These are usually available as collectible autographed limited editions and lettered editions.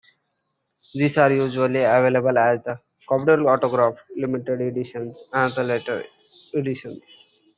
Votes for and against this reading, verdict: 2, 1, accepted